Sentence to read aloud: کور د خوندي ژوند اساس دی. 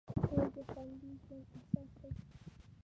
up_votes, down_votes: 1, 2